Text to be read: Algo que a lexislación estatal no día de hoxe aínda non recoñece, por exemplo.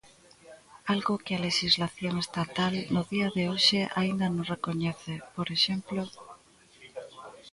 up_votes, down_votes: 0, 2